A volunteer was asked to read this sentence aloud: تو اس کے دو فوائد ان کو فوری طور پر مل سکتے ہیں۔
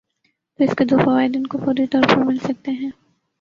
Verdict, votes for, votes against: rejected, 0, 2